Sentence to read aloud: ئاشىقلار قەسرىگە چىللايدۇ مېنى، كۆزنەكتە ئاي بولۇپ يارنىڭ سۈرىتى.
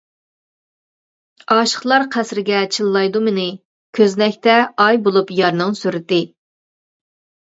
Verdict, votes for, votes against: accepted, 2, 0